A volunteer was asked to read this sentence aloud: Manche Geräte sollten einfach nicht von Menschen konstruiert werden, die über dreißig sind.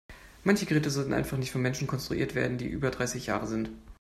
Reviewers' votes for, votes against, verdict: 0, 2, rejected